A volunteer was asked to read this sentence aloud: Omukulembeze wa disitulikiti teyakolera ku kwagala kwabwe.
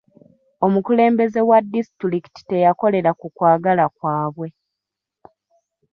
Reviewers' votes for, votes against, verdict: 2, 0, accepted